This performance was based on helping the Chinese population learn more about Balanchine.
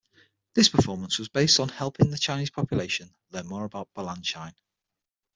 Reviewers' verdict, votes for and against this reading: accepted, 6, 0